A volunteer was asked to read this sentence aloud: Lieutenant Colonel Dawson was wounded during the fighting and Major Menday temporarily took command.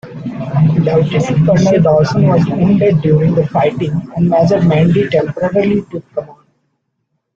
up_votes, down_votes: 0, 2